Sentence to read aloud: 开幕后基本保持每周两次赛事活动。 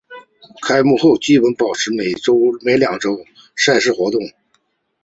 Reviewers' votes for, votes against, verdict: 4, 0, accepted